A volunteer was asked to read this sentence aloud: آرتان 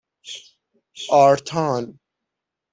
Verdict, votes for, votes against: accepted, 6, 3